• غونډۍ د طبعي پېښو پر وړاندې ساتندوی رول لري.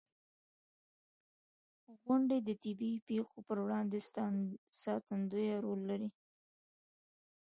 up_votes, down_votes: 2, 0